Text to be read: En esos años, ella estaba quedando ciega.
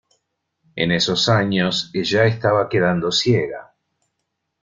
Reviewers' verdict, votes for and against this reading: rejected, 0, 2